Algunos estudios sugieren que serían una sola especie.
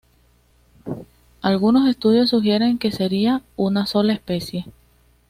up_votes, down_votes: 2, 0